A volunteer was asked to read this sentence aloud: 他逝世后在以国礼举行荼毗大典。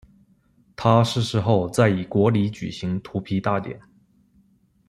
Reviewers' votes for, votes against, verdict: 2, 0, accepted